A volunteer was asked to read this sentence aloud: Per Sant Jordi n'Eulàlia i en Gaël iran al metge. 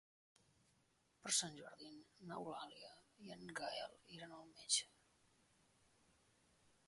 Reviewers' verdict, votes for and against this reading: accepted, 3, 0